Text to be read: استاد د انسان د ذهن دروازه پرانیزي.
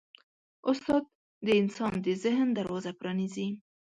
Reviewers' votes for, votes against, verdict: 1, 2, rejected